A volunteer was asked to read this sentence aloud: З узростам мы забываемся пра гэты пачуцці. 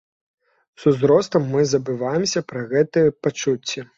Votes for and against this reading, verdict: 1, 2, rejected